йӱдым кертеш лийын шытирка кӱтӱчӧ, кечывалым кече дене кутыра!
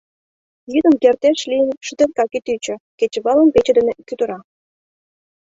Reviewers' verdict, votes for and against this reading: rejected, 1, 2